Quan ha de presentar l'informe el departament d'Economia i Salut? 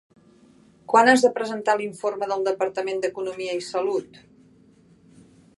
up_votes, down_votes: 2, 3